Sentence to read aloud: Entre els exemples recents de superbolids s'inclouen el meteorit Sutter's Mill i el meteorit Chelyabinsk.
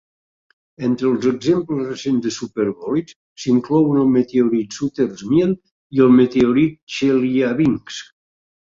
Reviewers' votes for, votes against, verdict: 2, 0, accepted